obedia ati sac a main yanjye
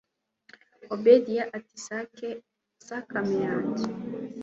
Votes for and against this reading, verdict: 2, 0, accepted